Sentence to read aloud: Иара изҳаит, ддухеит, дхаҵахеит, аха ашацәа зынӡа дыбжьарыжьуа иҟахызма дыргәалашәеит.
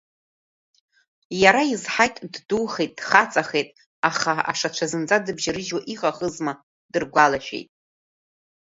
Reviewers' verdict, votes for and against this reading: rejected, 1, 2